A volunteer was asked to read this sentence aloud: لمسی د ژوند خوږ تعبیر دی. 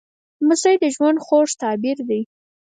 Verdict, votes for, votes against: accepted, 4, 0